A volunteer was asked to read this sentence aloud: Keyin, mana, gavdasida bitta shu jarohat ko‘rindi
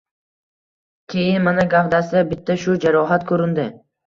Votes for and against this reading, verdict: 2, 0, accepted